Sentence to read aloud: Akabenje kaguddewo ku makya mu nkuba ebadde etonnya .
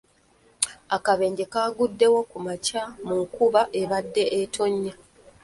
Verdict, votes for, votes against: accepted, 2, 1